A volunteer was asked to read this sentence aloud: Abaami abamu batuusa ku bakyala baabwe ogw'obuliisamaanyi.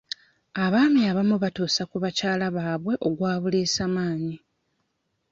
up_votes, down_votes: 2, 1